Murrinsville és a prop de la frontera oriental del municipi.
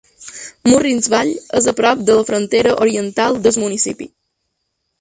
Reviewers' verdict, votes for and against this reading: rejected, 0, 3